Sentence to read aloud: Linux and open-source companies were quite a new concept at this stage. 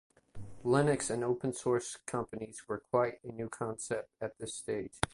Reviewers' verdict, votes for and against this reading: accepted, 2, 0